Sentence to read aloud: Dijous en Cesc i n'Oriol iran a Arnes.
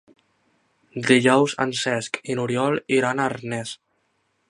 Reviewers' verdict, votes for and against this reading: rejected, 1, 2